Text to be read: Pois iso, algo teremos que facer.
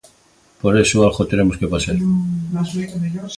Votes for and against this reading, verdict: 0, 2, rejected